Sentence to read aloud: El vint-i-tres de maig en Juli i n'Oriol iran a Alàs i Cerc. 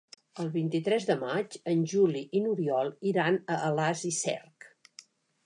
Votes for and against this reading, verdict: 2, 0, accepted